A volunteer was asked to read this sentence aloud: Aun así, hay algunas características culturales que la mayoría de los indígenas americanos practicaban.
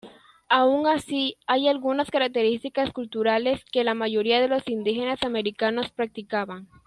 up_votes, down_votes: 2, 0